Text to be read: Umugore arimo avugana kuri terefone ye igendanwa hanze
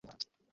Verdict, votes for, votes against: rejected, 0, 2